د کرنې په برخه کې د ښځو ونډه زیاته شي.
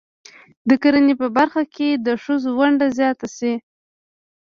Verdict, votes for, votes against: rejected, 0, 2